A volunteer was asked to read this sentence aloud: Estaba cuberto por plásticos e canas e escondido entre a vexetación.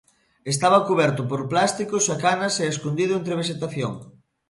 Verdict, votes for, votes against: accepted, 2, 0